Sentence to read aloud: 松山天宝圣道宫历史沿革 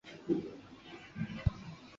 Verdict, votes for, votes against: rejected, 0, 5